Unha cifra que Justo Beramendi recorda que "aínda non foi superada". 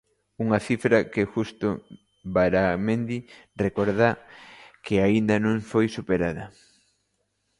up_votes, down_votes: 0, 2